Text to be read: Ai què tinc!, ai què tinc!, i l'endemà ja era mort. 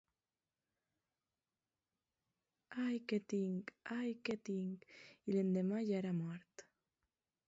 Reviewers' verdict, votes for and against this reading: rejected, 1, 2